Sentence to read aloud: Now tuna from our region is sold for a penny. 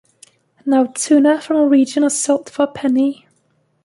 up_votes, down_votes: 0, 2